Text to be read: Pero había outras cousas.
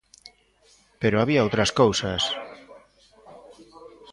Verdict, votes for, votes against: rejected, 1, 2